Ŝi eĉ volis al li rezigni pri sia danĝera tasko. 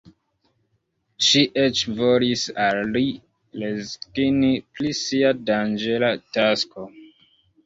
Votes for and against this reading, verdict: 1, 2, rejected